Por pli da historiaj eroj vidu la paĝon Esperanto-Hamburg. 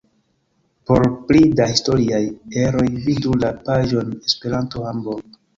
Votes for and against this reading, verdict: 2, 1, accepted